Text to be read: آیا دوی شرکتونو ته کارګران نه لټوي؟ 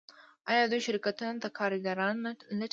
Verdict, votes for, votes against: accepted, 2, 0